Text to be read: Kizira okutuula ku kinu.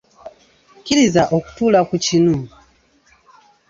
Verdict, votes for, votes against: rejected, 0, 2